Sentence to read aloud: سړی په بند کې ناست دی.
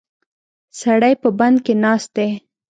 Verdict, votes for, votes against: accepted, 2, 0